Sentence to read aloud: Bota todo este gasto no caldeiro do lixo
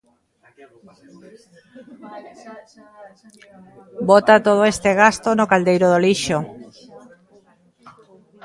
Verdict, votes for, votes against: rejected, 1, 2